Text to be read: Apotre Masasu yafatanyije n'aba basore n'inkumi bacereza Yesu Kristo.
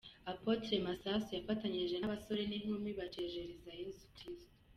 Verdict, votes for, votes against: rejected, 1, 2